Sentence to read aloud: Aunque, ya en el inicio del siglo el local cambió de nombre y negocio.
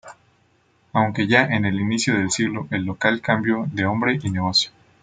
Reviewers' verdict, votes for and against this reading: rejected, 0, 2